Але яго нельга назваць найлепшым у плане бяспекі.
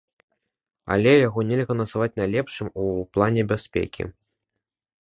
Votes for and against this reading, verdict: 2, 0, accepted